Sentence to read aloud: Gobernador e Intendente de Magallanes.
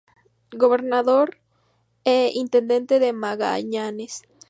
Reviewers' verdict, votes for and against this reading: accepted, 2, 0